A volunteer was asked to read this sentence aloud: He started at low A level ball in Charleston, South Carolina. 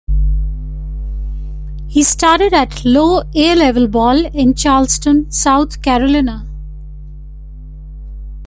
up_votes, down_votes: 1, 2